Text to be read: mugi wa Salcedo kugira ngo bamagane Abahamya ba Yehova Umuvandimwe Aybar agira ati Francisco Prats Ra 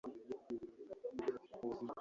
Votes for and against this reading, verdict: 1, 2, rejected